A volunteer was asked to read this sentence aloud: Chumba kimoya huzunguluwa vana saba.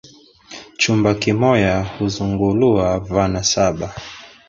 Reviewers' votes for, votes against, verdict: 2, 0, accepted